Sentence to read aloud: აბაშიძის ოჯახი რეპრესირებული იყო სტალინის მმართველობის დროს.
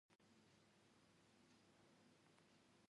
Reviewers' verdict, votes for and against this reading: rejected, 1, 2